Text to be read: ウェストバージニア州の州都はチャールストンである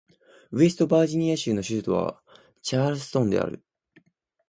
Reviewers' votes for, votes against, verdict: 2, 0, accepted